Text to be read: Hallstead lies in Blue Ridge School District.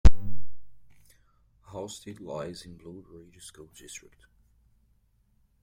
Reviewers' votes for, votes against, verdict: 2, 0, accepted